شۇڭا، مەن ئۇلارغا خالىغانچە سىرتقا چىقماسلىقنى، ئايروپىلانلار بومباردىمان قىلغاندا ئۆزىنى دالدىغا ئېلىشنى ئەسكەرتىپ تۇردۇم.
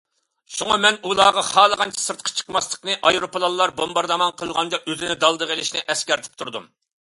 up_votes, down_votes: 2, 0